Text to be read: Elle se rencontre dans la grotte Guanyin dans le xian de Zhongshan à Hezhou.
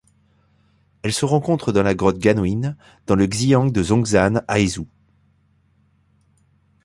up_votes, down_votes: 2, 0